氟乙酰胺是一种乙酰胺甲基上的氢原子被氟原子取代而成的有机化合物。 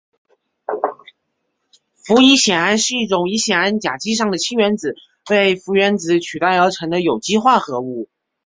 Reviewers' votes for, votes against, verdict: 3, 0, accepted